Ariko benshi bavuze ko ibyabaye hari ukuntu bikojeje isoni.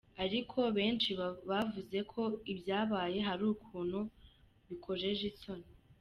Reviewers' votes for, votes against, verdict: 1, 2, rejected